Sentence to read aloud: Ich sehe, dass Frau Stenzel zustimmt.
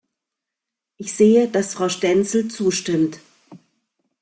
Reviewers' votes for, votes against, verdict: 2, 0, accepted